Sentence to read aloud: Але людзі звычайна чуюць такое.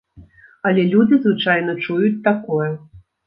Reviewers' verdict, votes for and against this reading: accepted, 2, 0